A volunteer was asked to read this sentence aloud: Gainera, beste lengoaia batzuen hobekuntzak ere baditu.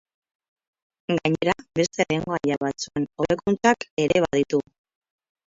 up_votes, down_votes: 0, 4